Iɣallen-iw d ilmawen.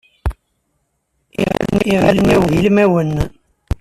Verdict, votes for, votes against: rejected, 1, 2